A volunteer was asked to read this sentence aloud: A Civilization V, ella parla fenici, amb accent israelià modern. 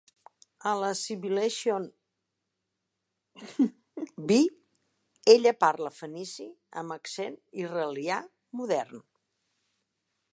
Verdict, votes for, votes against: rejected, 0, 2